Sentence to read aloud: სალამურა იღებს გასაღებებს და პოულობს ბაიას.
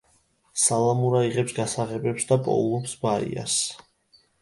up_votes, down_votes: 2, 0